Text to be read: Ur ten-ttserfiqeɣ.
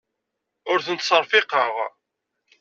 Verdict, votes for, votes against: accepted, 2, 0